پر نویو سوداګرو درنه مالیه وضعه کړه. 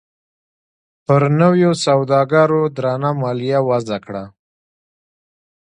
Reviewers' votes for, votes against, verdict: 2, 1, accepted